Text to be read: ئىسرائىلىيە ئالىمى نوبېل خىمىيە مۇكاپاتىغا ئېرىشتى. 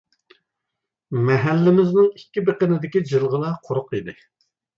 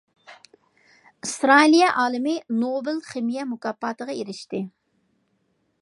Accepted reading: second